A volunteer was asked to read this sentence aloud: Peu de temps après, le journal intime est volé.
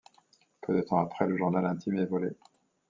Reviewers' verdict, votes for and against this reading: accepted, 2, 0